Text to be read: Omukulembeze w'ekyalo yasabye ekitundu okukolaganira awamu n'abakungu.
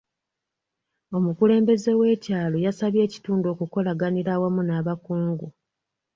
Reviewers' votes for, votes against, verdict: 2, 0, accepted